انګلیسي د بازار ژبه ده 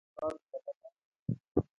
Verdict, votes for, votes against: rejected, 0, 2